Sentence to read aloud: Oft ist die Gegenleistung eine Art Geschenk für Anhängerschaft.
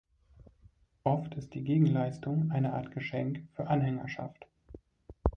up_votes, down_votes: 2, 0